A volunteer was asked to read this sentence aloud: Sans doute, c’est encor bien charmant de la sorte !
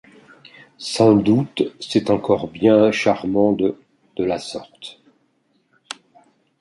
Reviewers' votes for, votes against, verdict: 0, 2, rejected